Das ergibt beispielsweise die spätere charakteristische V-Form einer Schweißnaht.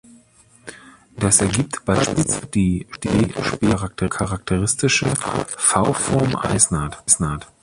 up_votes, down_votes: 0, 2